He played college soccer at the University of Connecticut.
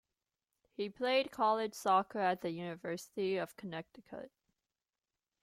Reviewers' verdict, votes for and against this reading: accepted, 2, 1